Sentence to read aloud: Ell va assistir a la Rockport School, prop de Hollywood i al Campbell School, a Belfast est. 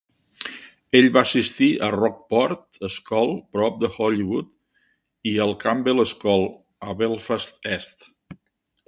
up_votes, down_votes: 1, 2